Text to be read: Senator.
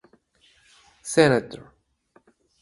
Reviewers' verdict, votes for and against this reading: rejected, 2, 2